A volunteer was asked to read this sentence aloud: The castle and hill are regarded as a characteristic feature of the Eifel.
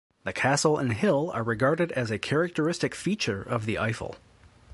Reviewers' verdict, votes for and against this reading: accepted, 2, 0